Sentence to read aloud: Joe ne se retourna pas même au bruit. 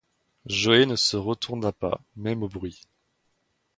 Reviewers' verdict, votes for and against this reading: rejected, 1, 2